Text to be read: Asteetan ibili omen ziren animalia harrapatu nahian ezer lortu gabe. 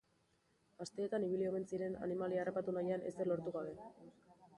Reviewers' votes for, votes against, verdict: 4, 1, accepted